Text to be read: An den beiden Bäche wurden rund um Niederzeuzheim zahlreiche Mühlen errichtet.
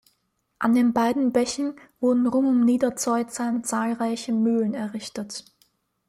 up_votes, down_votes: 1, 2